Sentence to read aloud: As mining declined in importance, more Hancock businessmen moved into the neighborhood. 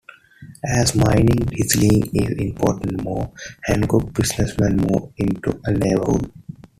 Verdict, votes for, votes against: rejected, 1, 2